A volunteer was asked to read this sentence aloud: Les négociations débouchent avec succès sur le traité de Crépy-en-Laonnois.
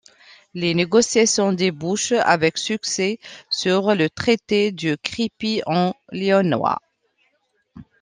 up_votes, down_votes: 2, 1